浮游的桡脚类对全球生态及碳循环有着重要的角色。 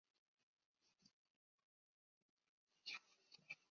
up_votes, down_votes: 0, 3